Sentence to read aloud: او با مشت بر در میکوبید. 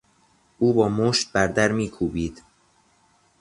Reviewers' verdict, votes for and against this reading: accepted, 2, 0